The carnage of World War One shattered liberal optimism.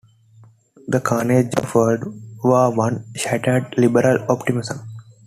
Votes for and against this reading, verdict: 2, 1, accepted